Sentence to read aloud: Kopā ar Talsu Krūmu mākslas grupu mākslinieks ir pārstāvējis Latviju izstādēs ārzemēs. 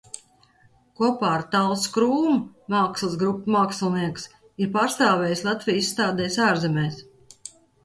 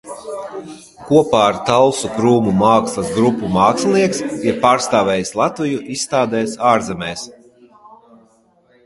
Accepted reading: first